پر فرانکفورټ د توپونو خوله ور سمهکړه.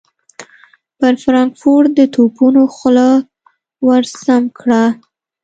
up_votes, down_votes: 2, 0